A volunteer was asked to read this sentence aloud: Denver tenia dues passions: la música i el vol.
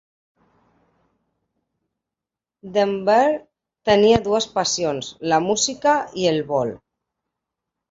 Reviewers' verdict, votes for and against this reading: accepted, 2, 0